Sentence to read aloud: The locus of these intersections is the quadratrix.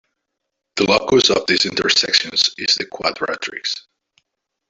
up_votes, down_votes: 0, 2